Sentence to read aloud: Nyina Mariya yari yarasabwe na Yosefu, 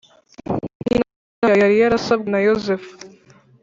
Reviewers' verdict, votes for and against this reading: rejected, 1, 3